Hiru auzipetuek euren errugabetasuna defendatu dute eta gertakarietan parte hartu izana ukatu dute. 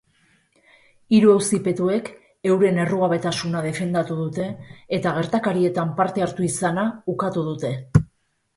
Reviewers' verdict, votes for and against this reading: accepted, 2, 0